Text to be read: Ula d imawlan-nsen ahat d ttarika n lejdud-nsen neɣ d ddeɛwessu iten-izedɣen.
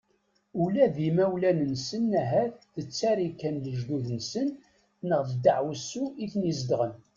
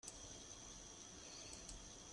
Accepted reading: first